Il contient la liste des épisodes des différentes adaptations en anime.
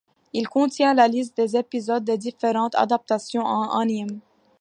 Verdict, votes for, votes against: accepted, 2, 1